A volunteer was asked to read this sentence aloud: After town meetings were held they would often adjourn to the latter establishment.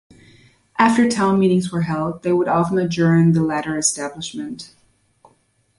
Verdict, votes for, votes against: rejected, 1, 2